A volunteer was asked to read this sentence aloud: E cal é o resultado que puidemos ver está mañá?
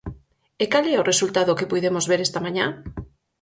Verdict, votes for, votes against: accepted, 4, 2